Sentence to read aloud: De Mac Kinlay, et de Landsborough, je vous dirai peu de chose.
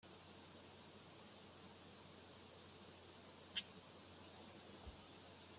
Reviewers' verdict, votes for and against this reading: rejected, 0, 2